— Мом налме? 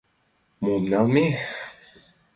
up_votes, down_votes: 3, 0